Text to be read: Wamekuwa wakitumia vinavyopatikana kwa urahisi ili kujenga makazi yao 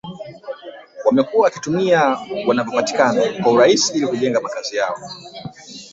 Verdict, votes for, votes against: rejected, 1, 2